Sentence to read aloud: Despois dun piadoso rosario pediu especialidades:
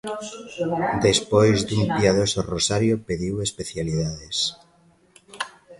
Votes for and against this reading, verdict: 1, 2, rejected